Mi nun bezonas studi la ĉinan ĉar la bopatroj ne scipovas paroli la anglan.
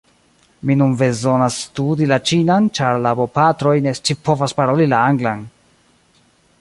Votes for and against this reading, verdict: 0, 2, rejected